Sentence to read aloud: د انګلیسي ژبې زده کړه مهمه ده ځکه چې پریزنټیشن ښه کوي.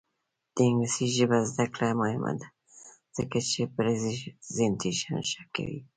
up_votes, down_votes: 2, 0